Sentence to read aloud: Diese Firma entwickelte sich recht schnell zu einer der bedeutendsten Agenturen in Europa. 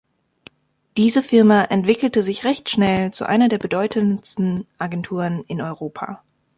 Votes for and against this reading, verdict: 2, 0, accepted